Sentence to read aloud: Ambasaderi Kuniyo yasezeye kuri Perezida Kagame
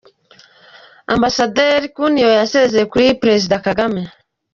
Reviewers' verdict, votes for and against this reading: accepted, 2, 0